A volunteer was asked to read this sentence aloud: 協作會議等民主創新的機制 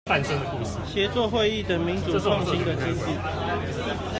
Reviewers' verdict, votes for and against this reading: rejected, 0, 2